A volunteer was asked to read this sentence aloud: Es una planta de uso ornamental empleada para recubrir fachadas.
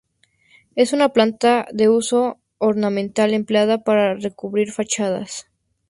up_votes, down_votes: 2, 0